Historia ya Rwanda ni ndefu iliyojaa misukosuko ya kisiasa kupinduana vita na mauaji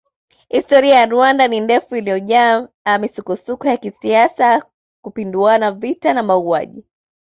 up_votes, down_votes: 2, 1